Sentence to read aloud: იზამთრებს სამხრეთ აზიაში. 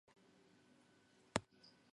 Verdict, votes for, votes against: rejected, 0, 2